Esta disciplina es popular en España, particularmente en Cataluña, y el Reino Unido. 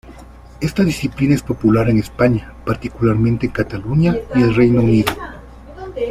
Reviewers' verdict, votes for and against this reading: accepted, 2, 1